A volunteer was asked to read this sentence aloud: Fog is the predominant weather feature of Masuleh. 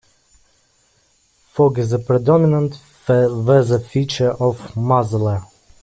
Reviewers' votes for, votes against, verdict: 0, 2, rejected